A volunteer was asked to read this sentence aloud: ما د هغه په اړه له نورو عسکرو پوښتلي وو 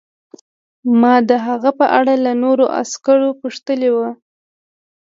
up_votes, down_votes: 3, 0